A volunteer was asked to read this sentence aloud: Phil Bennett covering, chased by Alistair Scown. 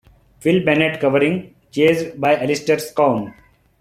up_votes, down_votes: 2, 0